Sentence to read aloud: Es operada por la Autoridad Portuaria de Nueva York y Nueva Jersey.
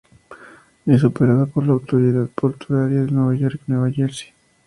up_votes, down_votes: 0, 2